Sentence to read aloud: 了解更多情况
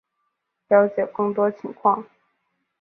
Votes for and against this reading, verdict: 6, 0, accepted